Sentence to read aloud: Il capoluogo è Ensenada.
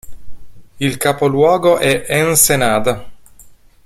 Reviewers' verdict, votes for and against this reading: accepted, 2, 0